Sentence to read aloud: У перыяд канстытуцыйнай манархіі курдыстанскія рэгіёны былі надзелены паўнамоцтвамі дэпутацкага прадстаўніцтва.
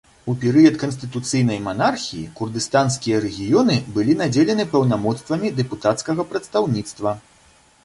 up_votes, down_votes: 2, 0